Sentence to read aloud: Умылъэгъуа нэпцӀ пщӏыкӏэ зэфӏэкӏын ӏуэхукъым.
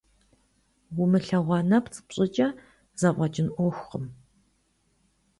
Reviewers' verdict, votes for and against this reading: accepted, 2, 0